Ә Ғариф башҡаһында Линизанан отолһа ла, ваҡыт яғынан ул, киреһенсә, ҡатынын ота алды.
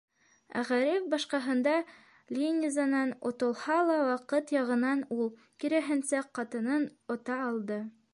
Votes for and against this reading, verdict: 1, 2, rejected